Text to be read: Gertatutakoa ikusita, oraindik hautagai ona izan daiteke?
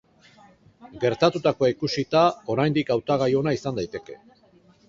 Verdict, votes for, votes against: rejected, 2, 2